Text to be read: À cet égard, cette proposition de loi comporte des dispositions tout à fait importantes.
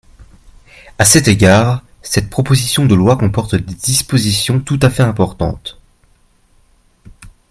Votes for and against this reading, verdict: 0, 2, rejected